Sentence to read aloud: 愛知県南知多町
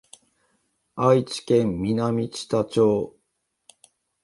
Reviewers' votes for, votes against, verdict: 2, 0, accepted